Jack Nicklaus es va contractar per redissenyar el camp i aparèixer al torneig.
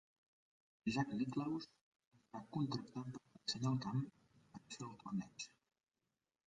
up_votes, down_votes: 1, 2